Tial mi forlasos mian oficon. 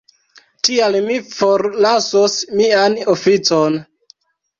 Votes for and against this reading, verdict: 3, 1, accepted